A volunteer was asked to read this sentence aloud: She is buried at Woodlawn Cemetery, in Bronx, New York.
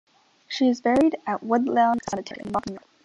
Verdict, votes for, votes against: rejected, 0, 2